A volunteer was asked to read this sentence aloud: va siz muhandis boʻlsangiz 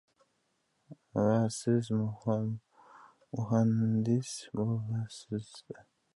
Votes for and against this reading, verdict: 0, 2, rejected